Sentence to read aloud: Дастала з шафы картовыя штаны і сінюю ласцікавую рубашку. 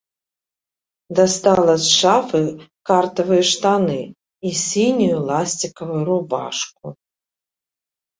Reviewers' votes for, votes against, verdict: 1, 2, rejected